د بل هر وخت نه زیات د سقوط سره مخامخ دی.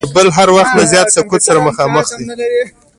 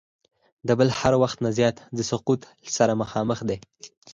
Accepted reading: second